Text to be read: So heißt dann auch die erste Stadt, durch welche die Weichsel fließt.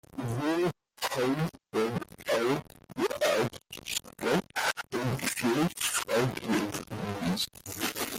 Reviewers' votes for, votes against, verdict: 0, 2, rejected